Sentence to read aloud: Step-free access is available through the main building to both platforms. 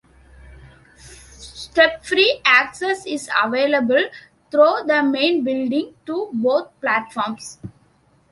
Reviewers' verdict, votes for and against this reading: accepted, 2, 1